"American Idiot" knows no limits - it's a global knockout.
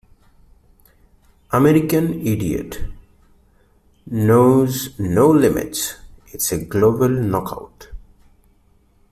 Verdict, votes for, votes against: accepted, 2, 1